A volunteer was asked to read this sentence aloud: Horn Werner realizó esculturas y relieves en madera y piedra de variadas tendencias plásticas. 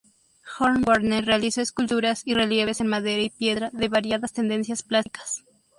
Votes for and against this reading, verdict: 0, 2, rejected